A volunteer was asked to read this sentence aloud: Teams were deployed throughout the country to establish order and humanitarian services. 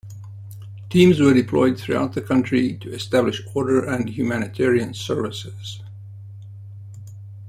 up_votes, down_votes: 2, 0